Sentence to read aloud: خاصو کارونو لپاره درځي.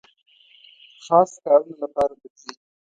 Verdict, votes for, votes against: rejected, 1, 2